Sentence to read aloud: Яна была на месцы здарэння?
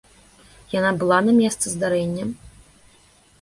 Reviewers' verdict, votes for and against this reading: accepted, 2, 0